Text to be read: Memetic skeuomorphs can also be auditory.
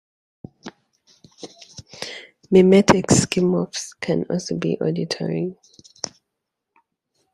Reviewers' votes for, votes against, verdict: 1, 2, rejected